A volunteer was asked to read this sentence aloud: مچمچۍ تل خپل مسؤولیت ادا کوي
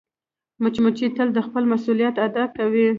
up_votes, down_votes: 2, 0